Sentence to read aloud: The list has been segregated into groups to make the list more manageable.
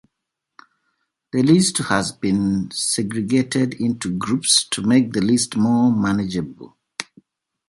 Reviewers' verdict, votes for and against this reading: accepted, 3, 0